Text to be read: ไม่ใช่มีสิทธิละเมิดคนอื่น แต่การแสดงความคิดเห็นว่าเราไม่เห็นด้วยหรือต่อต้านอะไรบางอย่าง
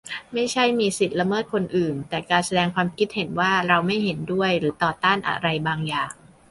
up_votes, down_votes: 1, 2